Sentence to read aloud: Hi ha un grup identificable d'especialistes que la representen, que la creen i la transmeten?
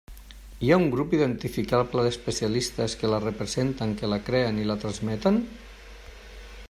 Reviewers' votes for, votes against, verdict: 3, 0, accepted